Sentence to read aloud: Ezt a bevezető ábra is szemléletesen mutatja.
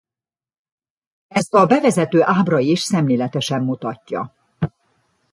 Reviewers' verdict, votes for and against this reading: accepted, 2, 0